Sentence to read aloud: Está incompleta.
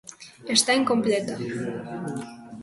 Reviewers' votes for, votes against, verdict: 2, 1, accepted